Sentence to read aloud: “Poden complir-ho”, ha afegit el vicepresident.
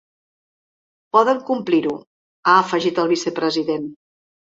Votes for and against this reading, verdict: 3, 0, accepted